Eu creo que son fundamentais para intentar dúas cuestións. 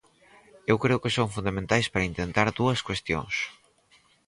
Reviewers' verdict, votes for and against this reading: accepted, 4, 0